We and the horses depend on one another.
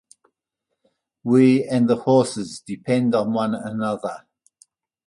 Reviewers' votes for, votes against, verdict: 2, 0, accepted